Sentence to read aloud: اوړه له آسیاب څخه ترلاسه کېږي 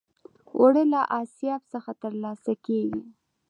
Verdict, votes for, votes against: accepted, 2, 0